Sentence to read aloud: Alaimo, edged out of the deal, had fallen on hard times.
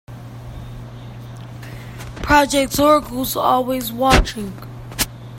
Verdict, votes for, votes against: rejected, 0, 2